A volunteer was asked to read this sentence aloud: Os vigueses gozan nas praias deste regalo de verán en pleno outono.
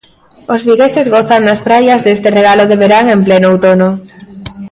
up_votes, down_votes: 1, 2